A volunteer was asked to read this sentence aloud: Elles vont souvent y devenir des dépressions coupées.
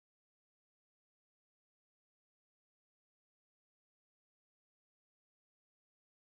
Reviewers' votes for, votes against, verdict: 0, 2, rejected